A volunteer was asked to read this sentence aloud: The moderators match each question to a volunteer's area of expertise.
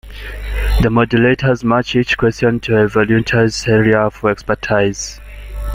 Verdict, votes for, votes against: rejected, 0, 2